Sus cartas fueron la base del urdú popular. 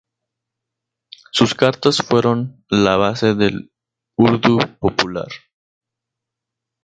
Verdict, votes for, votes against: rejected, 0, 2